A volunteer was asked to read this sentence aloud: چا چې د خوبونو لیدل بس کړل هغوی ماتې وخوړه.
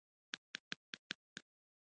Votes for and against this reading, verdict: 1, 2, rejected